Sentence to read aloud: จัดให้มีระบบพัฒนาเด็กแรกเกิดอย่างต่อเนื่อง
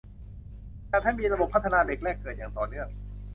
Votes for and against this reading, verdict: 2, 0, accepted